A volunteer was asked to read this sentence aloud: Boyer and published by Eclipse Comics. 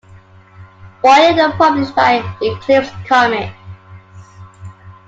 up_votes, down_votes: 2, 0